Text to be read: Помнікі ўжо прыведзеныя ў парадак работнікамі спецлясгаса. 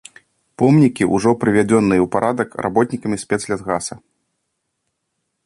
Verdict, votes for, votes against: rejected, 1, 2